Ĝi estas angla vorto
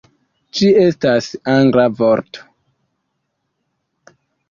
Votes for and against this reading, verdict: 2, 1, accepted